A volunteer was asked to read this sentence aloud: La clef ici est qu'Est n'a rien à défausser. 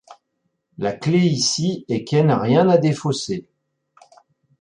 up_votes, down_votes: 0, 2